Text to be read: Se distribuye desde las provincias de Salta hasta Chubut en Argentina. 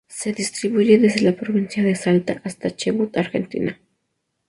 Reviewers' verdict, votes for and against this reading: rejected, 0, 2